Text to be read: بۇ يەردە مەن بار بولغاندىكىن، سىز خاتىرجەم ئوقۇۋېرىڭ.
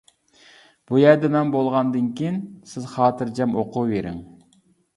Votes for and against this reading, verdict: 0, 2, rejected